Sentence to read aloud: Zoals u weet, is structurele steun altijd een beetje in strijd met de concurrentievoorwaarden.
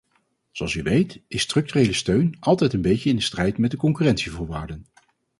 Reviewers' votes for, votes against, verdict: 2, 4, rejected